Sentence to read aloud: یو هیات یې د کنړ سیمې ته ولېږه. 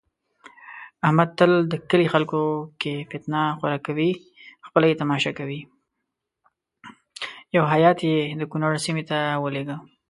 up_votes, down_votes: 1, 2